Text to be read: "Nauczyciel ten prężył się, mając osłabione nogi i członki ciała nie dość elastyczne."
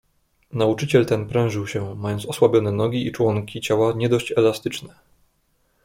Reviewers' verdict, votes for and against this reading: accepted, 2, 0